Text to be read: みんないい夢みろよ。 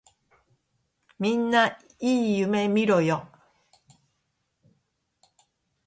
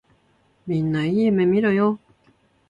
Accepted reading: second